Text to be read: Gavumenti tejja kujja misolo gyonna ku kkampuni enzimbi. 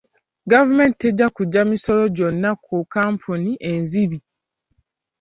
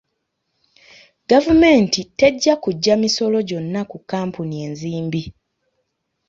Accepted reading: second